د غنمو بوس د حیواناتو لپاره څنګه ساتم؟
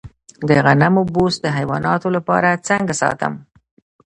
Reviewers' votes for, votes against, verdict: 1, 2, rejected